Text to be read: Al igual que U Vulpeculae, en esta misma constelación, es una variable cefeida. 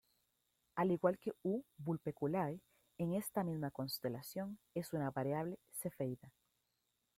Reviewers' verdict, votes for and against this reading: rejected, 1, 2